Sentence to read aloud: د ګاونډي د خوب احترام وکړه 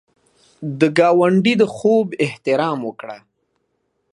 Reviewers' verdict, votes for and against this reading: accepted, 2, 0